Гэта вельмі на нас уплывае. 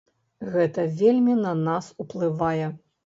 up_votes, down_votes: 2, 0